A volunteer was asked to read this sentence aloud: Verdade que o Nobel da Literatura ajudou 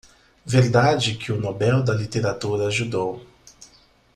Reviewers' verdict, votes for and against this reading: accepted, 2, 0